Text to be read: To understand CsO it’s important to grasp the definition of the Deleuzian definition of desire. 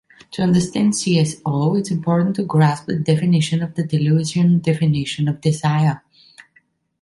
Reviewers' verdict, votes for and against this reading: accepted, 2, 0